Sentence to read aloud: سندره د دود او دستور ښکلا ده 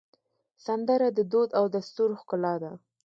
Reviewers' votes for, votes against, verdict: 2, 0, accepted